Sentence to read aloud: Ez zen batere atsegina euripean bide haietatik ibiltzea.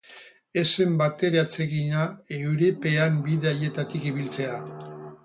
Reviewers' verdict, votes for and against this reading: rejected, 0, 4